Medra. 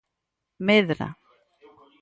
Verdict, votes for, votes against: accepted, 4, 2